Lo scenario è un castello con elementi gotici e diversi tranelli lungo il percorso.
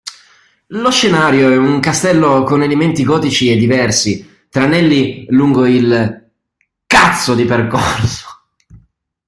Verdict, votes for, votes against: rejected, 0, 2